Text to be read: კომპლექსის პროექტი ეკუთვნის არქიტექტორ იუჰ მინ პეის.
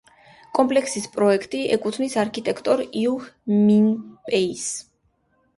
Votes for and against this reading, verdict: 2, 0, accepted